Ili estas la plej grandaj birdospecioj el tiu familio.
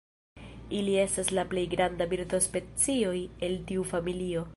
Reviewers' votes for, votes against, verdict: 0, 2, rejected